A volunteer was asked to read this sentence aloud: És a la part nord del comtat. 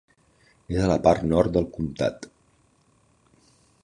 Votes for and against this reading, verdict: 1, 2, rejected